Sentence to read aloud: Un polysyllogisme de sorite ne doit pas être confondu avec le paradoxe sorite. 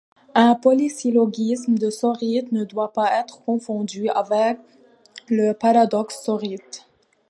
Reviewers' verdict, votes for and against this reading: accepted, 2, 0